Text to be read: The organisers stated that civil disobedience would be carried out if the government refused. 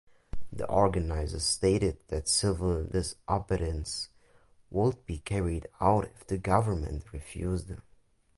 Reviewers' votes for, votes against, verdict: 0, 2, rejected